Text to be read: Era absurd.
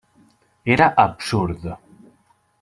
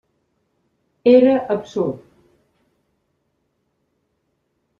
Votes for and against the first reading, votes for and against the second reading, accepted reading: 1, 2, 3, 0, second